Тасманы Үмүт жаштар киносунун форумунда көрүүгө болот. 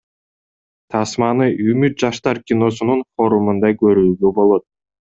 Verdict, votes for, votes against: accepted, 2, 0